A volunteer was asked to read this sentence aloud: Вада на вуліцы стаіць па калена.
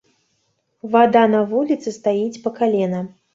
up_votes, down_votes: 2, 0